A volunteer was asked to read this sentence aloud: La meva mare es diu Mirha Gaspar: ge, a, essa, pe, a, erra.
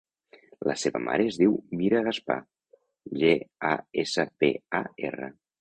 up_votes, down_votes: 0, 2